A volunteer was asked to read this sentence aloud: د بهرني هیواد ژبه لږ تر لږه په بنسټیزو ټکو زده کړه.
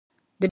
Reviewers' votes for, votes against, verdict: 0, 2, rejected